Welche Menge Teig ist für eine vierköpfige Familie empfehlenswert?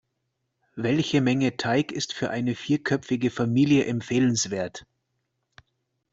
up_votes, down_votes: 2, 0